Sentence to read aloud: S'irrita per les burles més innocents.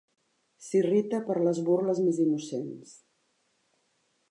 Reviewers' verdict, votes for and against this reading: accepted, 2, 0